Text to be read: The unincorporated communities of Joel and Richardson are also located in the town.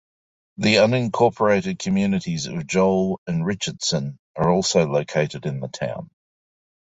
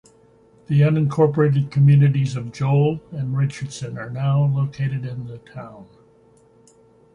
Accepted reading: first